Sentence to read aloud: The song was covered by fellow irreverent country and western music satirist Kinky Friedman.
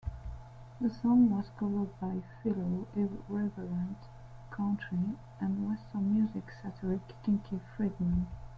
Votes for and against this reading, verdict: 0, 2, rejected